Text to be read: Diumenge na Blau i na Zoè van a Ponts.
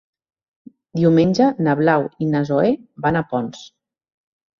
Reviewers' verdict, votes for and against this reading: accepted, 3, 0